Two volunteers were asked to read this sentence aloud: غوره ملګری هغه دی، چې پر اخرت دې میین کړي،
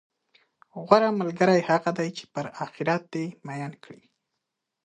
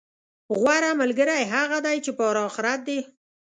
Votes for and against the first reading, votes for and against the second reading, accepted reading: 6, 0, 1, 2, first